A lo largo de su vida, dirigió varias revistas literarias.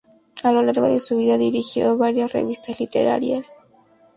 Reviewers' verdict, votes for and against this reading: accepted, 2, 0